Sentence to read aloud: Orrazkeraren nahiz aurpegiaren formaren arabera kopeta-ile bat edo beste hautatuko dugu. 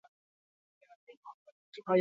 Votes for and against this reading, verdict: 4, 2, accepted